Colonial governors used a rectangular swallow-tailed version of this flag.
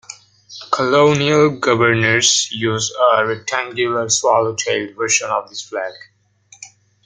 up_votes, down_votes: 2, 0